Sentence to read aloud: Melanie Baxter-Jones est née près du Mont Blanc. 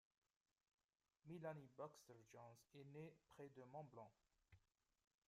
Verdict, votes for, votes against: rejected, 0, 2